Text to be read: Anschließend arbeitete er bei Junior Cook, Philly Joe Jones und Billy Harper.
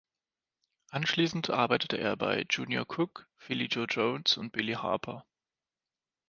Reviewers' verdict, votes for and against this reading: accepted, 2, 0